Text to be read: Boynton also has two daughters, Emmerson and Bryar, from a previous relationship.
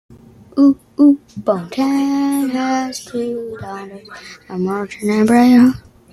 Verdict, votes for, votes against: rejected, 0, 2